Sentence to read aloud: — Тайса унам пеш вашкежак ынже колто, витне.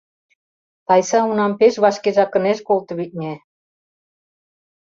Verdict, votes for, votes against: rejected, 0, 2